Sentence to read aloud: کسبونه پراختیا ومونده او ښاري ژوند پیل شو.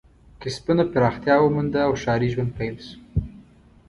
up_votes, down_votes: 2, 0